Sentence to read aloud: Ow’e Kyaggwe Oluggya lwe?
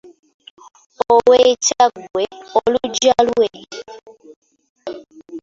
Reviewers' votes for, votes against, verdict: 0, 2, rejected